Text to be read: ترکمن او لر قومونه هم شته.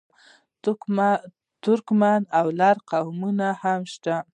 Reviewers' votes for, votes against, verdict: 1, 2, rejected